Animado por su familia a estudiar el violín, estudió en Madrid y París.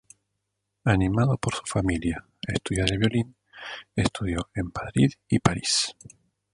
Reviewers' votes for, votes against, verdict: 0, 2, rejected